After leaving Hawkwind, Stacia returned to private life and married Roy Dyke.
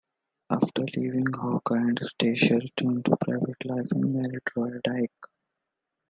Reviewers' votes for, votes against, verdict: 2, 1, accepted